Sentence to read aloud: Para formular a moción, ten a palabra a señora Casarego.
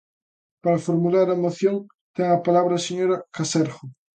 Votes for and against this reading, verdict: 0, 2, rejected